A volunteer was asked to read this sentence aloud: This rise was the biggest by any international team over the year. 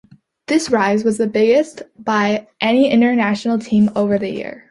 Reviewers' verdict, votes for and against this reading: accepted, 3, 0